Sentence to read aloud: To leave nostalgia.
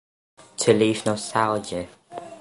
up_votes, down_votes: 2, 0